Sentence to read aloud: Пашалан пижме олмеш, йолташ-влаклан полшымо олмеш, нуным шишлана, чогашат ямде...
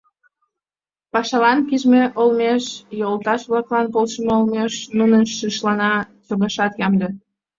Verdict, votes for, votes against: accepted, 5, 0